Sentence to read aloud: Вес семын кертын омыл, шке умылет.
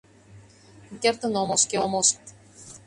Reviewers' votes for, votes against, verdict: 0, 2, rejected